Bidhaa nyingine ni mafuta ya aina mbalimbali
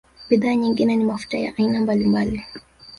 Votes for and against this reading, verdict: 2, 0, accepted